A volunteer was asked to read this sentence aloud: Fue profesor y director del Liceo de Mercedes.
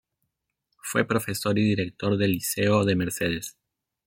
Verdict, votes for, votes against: accepted, 2, 0